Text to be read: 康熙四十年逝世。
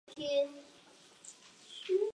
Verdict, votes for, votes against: rejected, 1, 3